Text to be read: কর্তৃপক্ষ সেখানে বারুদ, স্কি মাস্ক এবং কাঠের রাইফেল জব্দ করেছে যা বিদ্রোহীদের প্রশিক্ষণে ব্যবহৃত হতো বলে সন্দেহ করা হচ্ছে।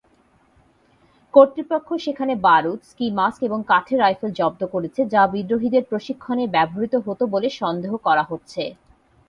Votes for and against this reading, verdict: 2, 0, accepted